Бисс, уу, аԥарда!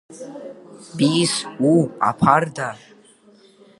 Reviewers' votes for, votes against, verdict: 3, 1, accepted